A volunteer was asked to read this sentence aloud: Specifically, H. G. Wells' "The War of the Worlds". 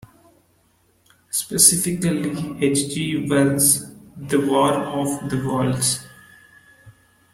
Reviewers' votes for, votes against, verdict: 2, 0, accepted